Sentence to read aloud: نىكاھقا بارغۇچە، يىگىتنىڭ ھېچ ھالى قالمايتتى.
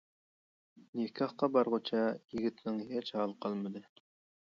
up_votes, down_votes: 0, 2